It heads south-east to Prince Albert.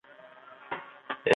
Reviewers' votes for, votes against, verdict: 0, 2, rejected